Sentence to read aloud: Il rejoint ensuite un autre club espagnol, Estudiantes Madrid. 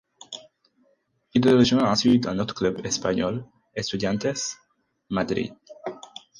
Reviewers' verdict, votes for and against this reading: rejected, 2, 4